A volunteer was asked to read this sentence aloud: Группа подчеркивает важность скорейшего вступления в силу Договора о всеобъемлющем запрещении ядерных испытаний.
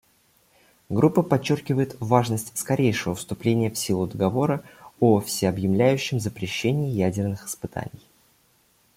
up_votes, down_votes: 0, 2